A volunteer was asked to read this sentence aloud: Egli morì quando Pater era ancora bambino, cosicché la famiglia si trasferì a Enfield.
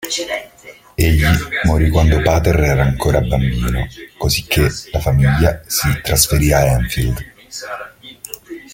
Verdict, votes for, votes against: accepted, 2, 1